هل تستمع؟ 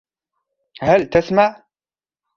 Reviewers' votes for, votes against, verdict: 0, 2, rejected